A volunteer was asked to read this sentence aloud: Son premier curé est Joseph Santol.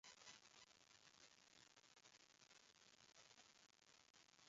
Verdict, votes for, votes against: rejected, 0, 2